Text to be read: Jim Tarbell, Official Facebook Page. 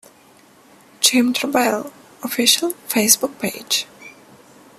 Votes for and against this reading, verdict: 2, 0, accepted